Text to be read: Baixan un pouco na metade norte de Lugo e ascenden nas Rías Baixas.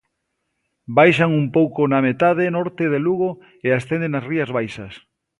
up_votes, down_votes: 3, 0